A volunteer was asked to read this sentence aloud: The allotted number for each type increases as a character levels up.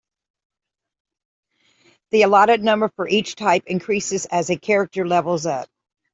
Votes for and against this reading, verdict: 2, 0, accepted